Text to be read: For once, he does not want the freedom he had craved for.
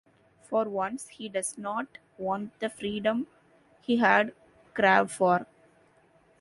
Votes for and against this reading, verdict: 0, 2, rejected